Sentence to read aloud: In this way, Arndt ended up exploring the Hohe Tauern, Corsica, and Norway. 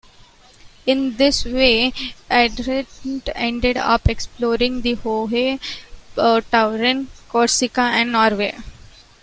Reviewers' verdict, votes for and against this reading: rejected, 0, 2